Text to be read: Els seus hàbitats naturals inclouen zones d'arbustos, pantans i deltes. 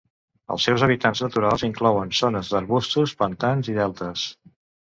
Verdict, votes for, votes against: rejected, 0, 2